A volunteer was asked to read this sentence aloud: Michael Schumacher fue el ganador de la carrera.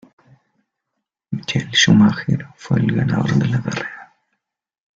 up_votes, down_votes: 1, 2